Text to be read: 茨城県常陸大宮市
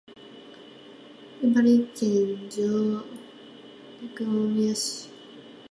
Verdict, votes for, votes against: rejected, 3, 4